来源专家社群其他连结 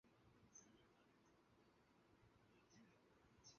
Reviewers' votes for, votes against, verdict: 1, 2, rejected